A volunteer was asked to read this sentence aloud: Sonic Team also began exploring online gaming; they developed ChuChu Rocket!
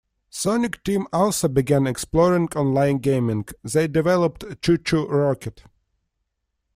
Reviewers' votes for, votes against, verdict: 2, 0, accepted